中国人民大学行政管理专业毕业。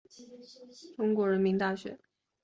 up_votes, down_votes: 1, 2